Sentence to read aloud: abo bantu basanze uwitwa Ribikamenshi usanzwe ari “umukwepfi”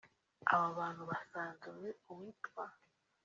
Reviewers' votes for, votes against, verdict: 0, 2, rejected